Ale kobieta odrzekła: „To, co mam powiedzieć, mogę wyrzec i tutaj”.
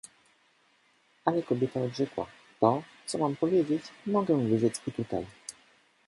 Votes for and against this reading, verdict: 2, 0, accepted